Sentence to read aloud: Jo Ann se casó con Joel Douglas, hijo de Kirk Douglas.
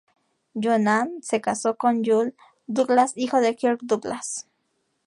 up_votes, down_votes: 0, 2